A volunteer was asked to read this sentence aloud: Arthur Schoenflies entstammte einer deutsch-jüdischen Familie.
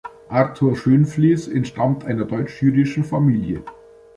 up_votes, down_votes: 0, 2